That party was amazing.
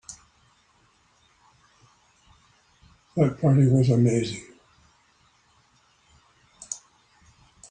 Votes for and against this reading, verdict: 3, 0, accepted